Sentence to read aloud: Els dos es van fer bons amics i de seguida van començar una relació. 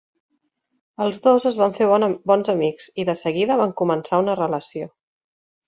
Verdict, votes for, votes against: rejected, 1, 2